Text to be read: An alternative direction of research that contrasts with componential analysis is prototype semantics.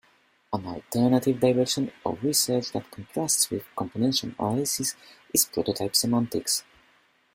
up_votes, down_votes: 0, 2